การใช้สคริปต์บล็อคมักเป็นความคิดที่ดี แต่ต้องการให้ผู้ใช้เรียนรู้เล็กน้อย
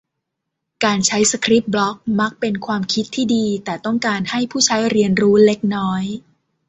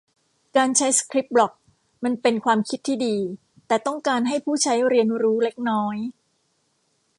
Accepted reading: first